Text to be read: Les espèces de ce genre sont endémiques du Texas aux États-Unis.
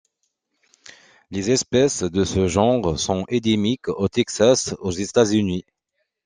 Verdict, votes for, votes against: rejected, 0, 2